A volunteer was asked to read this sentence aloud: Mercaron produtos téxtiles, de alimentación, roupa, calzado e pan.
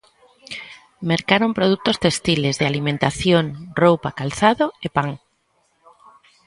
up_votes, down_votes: 1, 2